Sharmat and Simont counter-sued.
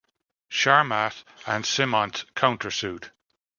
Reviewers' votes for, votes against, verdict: 2, 0, accepted